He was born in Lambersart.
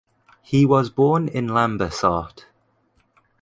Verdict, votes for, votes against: accepted, 2, 0